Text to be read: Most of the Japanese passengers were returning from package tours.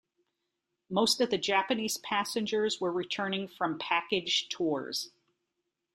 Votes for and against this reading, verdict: 2, 0, accepted